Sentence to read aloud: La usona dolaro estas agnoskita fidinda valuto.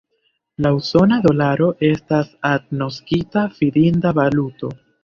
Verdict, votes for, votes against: accepted, 3, 1